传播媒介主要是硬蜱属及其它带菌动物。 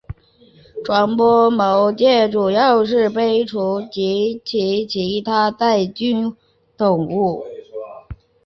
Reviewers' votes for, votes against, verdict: 0, 4, rejected